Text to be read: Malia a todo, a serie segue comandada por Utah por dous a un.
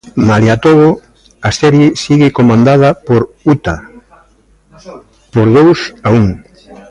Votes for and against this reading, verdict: 0, 2, rejected